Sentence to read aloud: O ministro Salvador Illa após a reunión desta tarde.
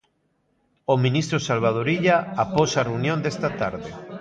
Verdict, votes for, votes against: rejected, 1, 2